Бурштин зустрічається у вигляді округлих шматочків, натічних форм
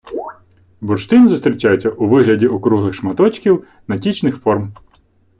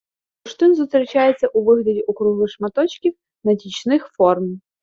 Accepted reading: first